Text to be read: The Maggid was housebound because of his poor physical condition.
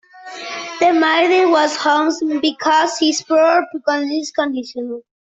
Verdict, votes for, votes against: rejected, 0, 2